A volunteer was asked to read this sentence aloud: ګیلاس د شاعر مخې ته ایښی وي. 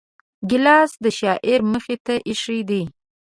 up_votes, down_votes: 1, 2